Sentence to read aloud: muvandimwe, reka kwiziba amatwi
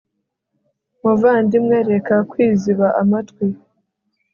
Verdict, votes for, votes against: accepted, 2, 0